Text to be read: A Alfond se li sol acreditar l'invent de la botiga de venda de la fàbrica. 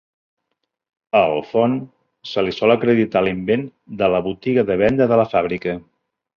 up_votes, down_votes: 3, 0